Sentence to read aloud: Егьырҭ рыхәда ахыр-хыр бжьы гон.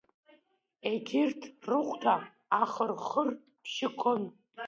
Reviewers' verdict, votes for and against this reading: accepted, 2, 1